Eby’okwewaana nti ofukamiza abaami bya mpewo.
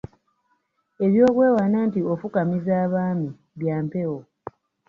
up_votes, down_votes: 2, 1